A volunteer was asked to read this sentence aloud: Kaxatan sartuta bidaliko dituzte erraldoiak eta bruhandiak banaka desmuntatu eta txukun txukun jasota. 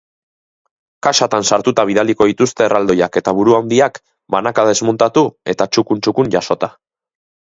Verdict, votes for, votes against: accepted, 2, 0